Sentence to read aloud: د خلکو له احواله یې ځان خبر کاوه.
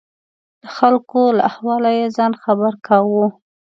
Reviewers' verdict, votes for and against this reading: accepted, 2, 0